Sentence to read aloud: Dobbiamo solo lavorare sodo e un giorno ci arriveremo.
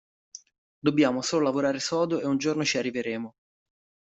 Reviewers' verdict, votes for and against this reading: accepted, 2, 0